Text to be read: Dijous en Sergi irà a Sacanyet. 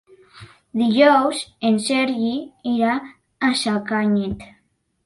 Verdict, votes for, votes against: rejected, 1, 2